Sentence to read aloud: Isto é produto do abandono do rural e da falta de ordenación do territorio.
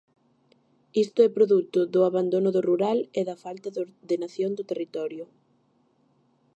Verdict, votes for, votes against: accepted, 2, 0